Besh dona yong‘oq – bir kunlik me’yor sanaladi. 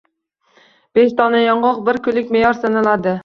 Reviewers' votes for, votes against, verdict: 2, 0, accepted